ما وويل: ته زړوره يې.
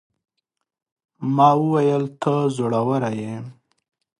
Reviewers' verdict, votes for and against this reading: accepted, 2, 0